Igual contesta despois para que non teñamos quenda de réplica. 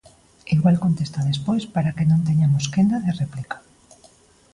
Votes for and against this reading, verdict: 2, 0, accepted